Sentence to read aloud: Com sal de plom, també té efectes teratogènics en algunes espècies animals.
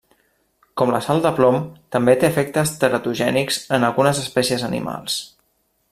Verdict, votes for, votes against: rejected, 1, 2